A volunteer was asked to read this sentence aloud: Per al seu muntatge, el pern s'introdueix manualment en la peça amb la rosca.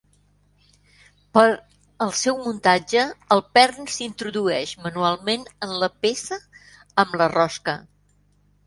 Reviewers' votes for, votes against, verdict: 1, 2, rejected